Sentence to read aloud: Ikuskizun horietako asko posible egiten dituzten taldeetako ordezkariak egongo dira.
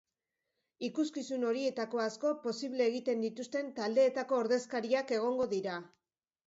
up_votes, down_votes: 2, 1